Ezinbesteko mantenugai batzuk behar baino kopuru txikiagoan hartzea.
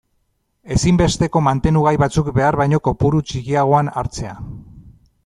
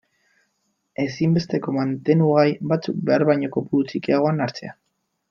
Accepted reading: first